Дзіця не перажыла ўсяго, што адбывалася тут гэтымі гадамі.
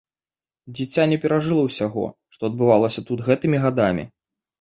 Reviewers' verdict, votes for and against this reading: accepted, 2, 0